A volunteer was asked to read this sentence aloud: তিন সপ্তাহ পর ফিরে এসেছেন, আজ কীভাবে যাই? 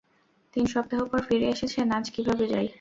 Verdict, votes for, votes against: rejected, 0, 2